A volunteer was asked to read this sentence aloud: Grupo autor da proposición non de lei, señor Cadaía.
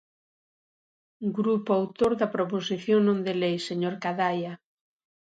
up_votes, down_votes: 0, 2